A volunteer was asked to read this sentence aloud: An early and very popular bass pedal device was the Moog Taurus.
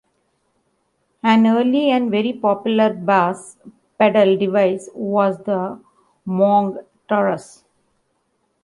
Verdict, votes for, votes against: rejected, 1, 2